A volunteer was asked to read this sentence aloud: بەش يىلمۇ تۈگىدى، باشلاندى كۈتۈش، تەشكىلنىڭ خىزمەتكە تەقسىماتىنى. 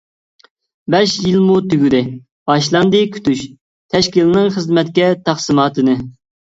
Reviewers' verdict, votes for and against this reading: accepted, 2, 0